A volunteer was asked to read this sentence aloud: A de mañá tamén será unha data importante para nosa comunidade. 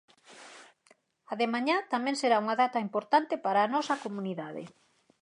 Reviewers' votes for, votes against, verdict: 2, 4, rejected